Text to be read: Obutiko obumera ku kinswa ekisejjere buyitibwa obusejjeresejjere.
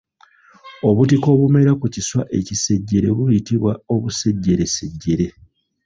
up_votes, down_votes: 2, 0